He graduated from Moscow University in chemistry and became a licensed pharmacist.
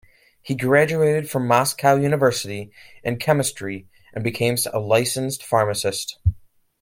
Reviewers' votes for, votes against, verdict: 0, 2, rejected